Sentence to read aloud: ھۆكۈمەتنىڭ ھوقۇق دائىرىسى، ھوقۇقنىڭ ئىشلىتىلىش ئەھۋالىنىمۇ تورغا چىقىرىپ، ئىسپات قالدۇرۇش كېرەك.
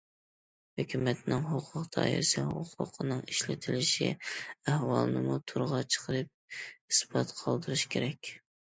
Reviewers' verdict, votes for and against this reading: rejected, 1, 2